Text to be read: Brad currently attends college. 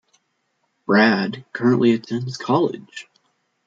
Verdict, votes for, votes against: accepted, 2, 0